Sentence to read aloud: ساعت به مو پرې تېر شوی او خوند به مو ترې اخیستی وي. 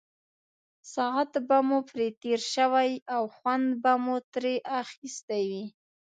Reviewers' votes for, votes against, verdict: 2, 0, accepted